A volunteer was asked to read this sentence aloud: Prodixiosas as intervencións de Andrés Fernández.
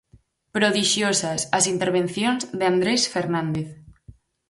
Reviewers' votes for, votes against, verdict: 4, 0, accepted